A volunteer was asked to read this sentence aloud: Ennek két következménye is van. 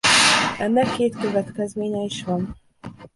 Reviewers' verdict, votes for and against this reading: rejected, 1, 2